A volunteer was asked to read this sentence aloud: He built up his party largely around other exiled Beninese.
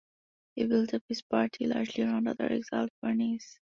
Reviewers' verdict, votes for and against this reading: rejected, 0, 2